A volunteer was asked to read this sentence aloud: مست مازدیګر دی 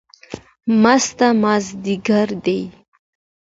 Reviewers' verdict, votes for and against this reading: accepted, 2, 0